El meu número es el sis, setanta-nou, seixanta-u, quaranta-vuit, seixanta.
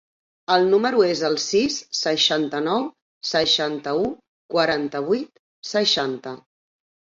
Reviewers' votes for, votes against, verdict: 0, 2, rejected